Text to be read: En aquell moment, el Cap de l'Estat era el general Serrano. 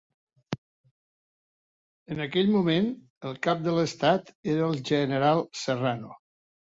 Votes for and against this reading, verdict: 2, 0, accepted